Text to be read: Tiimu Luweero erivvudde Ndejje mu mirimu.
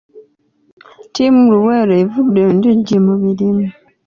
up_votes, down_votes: 2, 0